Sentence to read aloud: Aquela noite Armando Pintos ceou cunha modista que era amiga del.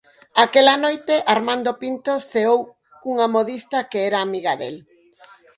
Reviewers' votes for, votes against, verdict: 4, 0, accepted